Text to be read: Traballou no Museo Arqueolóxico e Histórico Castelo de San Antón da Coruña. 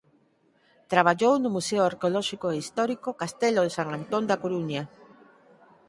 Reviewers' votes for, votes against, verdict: 4, 0, accepted